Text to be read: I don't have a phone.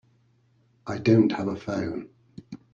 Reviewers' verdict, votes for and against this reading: accepted, 2, 0